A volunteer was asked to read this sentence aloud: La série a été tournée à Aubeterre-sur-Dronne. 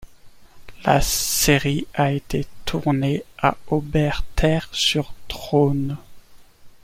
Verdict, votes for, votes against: accepted, 2, 1